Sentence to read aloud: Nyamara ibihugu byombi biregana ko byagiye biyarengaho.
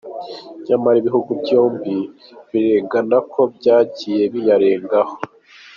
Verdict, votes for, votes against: accepted, 2, 0